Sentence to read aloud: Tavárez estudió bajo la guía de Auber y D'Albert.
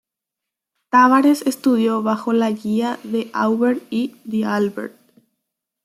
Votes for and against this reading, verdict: 1, 2, rejected